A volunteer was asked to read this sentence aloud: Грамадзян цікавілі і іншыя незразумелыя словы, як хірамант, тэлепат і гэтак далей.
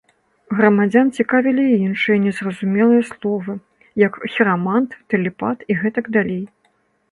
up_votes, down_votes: 2, 0